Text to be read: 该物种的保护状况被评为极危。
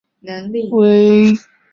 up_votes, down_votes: 0, 5